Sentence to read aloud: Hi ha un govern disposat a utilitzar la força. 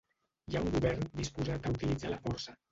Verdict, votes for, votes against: rejected, 1, 2